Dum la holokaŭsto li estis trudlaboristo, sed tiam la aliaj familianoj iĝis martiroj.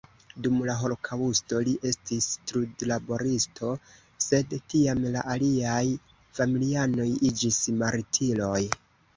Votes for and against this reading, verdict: 1, 3, rejected